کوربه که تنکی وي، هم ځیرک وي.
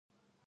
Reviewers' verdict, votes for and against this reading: rejected, 0, 2